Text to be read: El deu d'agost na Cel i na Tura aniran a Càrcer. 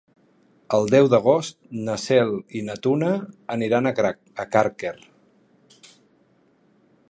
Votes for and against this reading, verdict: 0, 3, rejected